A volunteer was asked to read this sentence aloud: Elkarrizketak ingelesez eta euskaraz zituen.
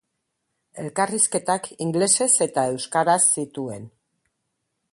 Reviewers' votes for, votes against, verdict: 0, 2, rejected